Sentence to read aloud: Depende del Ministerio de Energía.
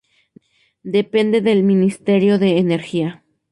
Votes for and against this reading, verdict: 0, 2, rejected